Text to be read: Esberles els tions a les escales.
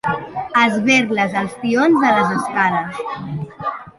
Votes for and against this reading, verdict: 1, 2, rejected